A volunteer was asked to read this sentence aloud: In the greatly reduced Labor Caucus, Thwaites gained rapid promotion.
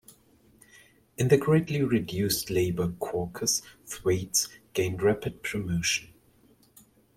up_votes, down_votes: 2, 0